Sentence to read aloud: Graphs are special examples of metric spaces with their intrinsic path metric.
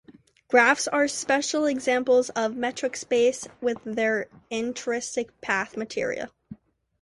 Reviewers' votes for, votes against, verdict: 0, 2, rejected